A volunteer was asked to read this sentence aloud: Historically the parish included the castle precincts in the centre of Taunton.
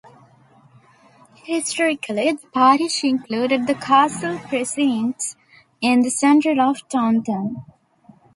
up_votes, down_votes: 2, 1